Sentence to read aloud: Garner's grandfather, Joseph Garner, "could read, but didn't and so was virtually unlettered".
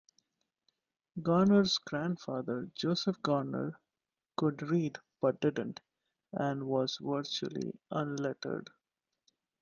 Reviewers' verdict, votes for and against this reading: rejected, 1, 2